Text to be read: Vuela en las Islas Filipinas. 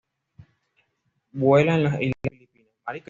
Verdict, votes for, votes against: rejected, 1, 2